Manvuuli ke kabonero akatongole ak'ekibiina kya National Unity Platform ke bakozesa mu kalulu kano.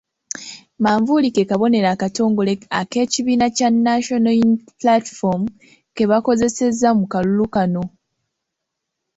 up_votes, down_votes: 1, 2